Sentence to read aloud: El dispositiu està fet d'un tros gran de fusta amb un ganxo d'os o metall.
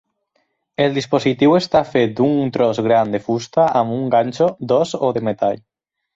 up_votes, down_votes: 4, 0